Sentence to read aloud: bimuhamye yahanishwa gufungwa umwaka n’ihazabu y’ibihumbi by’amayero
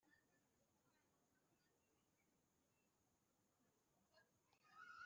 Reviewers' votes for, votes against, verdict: 0, 2, rejected